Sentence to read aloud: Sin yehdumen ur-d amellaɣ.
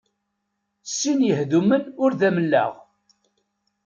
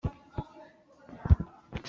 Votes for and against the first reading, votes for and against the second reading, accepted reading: 2, 0, 0, 2, first